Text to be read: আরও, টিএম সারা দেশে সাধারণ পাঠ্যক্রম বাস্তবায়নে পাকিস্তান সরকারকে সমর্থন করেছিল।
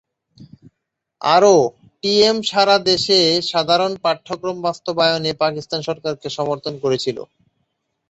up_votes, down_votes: 2, 0